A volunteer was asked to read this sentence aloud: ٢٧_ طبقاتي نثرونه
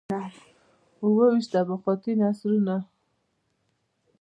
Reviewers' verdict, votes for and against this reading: rejected, 0, 2